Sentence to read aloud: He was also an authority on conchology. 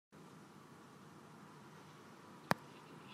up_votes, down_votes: 0, 2